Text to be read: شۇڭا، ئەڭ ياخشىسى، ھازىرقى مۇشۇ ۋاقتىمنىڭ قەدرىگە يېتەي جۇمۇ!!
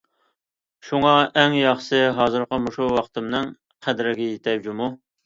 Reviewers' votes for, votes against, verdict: 2, 0, accepted